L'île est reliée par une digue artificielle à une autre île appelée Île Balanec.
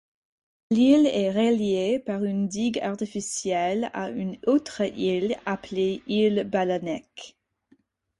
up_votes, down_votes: 4, 0